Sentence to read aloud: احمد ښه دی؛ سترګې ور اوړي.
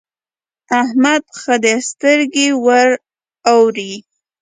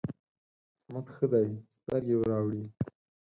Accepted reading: first